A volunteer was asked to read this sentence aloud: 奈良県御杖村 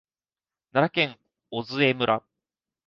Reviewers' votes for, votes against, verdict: 2, 0, accepted